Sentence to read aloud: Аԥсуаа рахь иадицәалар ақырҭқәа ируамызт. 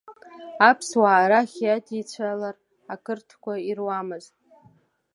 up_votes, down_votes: 3, 1